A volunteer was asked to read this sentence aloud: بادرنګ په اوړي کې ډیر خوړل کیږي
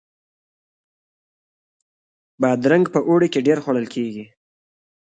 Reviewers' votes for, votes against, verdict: 2, 0, accepted